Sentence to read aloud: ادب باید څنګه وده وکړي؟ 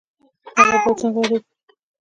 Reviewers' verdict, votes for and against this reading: rejected, 0, 2